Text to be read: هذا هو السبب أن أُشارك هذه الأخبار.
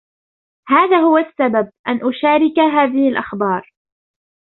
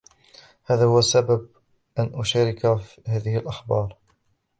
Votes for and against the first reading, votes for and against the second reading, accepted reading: 2, 0, 0, 2, first